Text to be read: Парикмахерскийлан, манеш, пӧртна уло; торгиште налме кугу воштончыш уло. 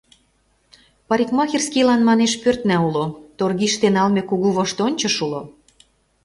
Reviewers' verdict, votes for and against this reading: accepted, 2, 0